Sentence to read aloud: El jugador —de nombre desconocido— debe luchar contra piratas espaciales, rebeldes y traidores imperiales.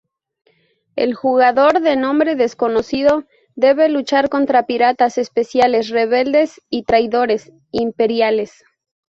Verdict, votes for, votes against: rejected, 0, 4